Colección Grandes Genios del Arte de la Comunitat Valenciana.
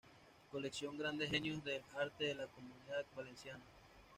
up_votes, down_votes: 2, 0